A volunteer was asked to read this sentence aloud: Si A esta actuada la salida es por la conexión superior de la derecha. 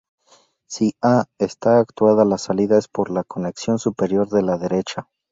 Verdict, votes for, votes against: accepted, 2, 0